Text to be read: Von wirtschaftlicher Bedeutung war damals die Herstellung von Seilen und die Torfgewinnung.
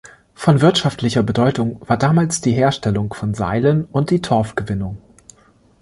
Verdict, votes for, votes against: accepted, 2, 0